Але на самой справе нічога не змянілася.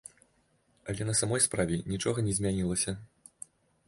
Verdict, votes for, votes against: accepted, 2, 1